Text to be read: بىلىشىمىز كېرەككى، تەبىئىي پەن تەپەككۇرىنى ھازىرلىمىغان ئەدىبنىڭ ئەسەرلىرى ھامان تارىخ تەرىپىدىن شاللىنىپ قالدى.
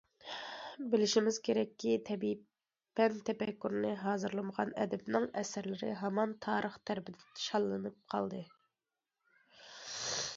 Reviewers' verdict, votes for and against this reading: accepted, 2, 0